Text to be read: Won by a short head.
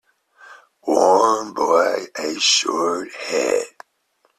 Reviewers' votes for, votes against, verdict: 1, 2, rejected